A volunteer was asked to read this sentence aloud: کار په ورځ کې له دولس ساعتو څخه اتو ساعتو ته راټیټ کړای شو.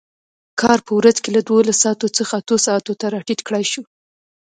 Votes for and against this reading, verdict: 1, 2, rejected